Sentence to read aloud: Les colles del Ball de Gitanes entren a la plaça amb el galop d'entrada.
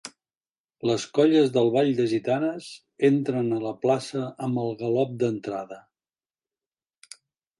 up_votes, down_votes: 3, 0